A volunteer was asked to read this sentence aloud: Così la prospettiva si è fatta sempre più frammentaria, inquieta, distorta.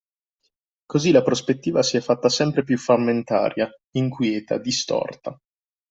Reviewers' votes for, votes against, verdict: 2, 0, accepted